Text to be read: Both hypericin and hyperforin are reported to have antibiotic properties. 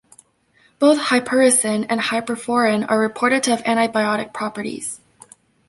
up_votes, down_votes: 2, 0